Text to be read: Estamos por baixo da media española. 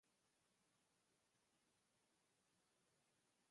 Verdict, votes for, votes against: rejected, 0, 2